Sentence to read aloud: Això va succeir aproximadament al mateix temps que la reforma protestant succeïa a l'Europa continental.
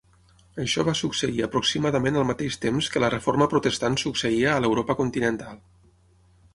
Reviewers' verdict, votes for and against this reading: accepted, 6, 0